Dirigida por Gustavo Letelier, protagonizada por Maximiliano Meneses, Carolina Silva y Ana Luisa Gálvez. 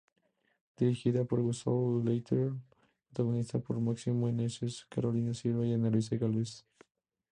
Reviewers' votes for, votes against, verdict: 0, 2, rejected